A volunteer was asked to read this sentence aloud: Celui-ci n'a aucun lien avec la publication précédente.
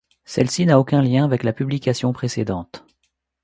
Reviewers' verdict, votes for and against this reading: rejected, 1, 2